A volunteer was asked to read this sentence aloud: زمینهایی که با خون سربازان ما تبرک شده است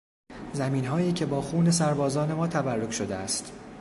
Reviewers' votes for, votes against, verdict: 2, 0, accepted